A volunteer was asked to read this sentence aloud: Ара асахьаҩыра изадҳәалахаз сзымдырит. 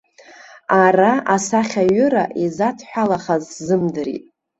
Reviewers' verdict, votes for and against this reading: accepted, 2, 0